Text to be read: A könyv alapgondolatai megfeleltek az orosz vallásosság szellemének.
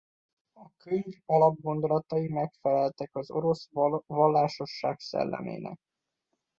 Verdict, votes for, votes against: rejected, 0, 2